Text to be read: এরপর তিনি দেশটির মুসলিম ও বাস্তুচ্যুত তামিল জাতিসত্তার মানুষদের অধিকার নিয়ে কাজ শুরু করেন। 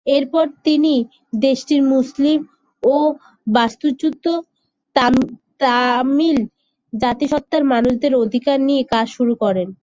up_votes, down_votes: 5, 2